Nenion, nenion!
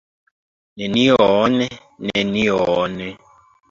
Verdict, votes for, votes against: accepted, 2, 1